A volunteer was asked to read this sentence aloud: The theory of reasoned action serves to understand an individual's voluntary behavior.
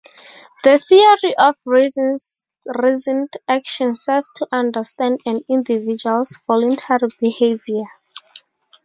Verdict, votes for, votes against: rejected, 0, 2